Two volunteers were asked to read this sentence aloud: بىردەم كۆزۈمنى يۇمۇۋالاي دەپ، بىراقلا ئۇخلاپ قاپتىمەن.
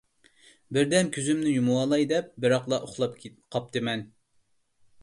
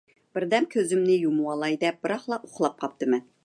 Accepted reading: second